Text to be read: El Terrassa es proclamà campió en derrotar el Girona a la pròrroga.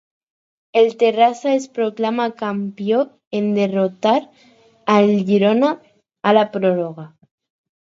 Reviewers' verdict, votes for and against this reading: rejected, 2, 2